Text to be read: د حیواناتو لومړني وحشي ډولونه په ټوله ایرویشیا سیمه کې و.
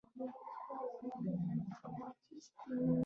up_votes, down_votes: 2, 0